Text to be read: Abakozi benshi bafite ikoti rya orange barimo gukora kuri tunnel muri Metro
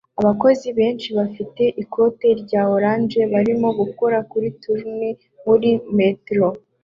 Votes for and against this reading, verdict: 2, 0, accepted